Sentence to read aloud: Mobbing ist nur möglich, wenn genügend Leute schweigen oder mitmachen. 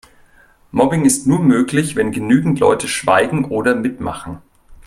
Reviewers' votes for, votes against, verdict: 2, 0, accepted